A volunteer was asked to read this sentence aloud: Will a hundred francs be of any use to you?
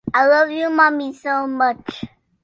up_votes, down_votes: 0, 2